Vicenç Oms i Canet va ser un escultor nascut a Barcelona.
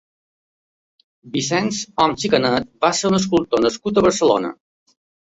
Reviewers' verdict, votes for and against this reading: accepted, 2, 0